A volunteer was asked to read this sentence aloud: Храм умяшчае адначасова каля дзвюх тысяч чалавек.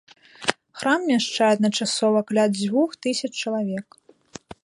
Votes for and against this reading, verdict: 1, 2, rejected